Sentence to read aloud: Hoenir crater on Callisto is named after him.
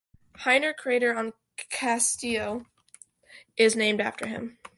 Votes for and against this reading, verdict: 1, 2, rejected